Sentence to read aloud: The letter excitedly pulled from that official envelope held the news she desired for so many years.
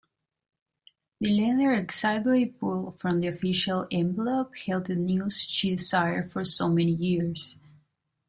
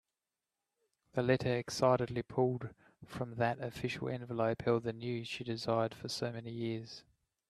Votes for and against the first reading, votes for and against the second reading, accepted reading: 1, 2, 2, 0, second